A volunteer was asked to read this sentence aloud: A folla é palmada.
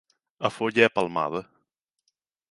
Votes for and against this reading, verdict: 0, 2, rejected